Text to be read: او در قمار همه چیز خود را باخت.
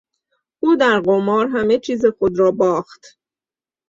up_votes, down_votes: 2, 0